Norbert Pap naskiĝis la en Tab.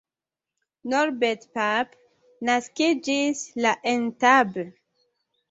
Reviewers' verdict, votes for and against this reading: accepted, 2, 0